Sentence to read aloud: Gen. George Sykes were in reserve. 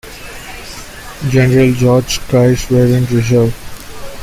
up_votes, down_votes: 0, 2